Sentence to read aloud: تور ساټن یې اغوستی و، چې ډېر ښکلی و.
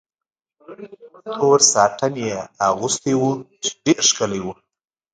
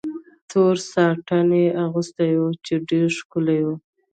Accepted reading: first